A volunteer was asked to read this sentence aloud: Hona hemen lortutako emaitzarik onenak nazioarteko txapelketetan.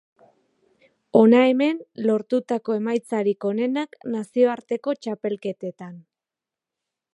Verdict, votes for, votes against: accepted, 2, 0